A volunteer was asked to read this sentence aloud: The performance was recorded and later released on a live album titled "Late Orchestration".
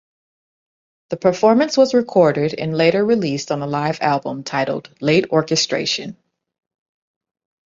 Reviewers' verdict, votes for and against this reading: accepted, 2, 1